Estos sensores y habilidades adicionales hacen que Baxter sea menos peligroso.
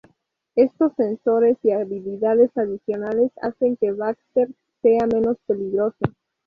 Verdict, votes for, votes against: accepted, 2, 0